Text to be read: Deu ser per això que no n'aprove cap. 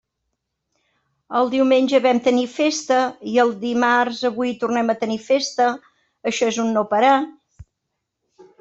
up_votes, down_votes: 0, 2